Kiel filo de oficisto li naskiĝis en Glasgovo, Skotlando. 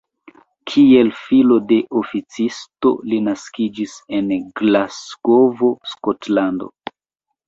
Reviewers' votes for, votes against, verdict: 2, 0, accepted